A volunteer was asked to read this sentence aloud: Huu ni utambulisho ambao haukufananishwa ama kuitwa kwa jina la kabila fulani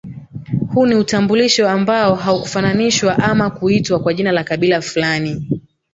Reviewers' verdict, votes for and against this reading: accepted, 2, 0